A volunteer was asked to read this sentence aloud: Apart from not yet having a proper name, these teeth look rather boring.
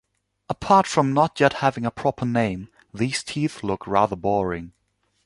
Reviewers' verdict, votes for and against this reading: accepted, 2, 0